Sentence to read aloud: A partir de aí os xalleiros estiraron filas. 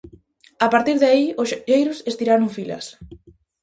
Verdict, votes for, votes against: rejected, 2, 2